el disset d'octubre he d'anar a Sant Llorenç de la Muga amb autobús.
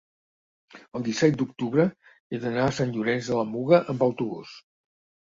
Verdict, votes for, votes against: accepted, 2, 0